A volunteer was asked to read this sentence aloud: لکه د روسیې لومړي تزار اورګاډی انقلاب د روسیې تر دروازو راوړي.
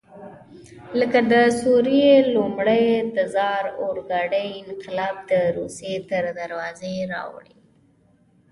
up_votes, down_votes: 3, 1